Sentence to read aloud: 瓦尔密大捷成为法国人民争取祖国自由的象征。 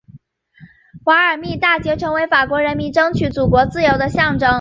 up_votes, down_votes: 2, 0